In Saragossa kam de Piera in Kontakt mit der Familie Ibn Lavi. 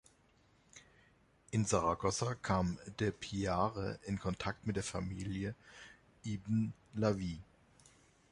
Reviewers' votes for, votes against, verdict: 0, 2, rejected